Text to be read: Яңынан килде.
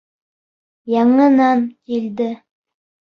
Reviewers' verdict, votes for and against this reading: rejected, 1, 2